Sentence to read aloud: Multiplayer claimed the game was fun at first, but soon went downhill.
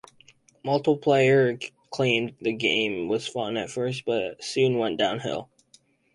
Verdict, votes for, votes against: accepted, 4, 0